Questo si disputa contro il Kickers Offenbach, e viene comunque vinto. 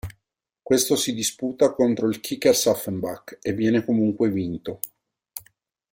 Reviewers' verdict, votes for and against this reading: rejected, 0, 2